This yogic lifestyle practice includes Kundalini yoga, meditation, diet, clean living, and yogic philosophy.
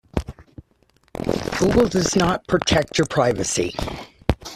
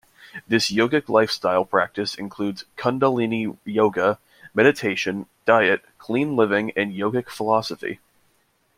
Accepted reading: second